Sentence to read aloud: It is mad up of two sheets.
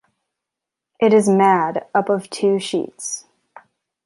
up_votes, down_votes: 2, 0